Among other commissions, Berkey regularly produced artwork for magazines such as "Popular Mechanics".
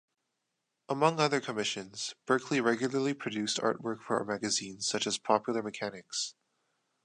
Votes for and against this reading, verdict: 1, 2, rejected